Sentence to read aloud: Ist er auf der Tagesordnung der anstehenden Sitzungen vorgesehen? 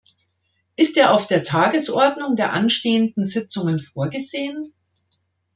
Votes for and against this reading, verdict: 2, 0, accepted